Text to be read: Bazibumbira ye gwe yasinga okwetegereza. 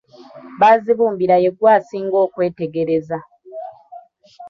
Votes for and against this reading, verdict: 0, 2, rejected